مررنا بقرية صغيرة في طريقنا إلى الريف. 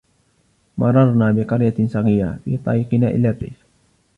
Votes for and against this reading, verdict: 0, 2, rejected